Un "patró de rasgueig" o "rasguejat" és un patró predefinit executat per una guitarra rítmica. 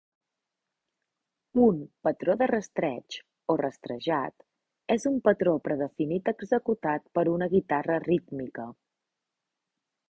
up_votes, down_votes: 0, 2